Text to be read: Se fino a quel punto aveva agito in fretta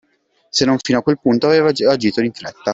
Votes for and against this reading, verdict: 0, 2, rejected